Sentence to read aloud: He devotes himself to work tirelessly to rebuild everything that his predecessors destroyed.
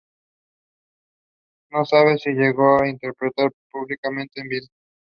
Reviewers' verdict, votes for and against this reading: rejected, 0, 2